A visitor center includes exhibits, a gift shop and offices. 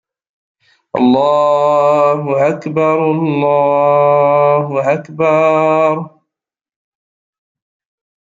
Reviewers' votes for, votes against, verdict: 0, 2, rejected